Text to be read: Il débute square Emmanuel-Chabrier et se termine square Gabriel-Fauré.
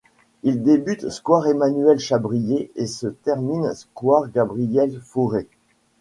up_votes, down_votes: 2, 1